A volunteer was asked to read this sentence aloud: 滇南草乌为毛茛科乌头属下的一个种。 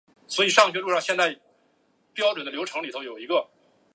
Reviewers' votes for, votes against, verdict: 2, 3, rejected